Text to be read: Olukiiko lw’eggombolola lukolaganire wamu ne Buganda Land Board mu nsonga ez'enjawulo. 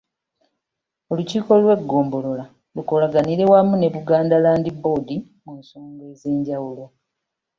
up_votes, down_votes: 2, 0